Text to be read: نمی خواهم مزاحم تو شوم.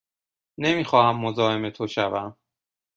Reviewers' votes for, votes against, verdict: 2, 0, accepted